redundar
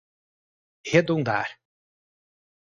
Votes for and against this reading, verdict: 4, 0, accepted